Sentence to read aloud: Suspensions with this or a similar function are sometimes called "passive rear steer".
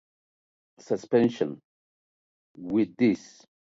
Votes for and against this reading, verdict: 0, 6, rejected